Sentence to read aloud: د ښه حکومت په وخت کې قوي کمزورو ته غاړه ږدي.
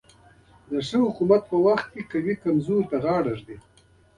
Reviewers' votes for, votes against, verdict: 3, 0, accepted